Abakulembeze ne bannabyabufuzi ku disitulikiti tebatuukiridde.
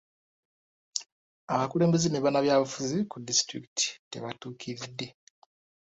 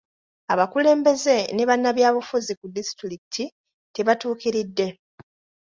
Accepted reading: second